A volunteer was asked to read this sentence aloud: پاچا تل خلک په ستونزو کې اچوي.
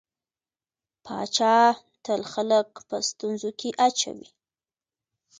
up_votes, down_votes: 2, 1